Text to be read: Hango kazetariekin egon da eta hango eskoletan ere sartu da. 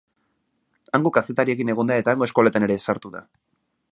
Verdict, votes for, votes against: accepted, 2, 0